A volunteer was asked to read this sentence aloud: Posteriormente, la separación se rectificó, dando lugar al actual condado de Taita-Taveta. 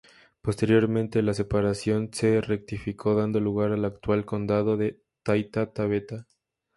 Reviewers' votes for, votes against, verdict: 2, 0, accepted